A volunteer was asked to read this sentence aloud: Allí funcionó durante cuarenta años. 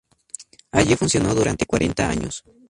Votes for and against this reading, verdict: 2, 0, accepted